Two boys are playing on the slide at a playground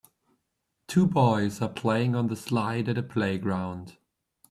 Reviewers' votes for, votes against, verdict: 2, 0, accepted